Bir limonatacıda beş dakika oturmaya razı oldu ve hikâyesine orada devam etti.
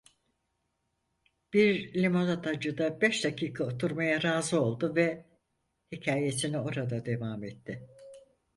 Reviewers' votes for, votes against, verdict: 4, 0, accepted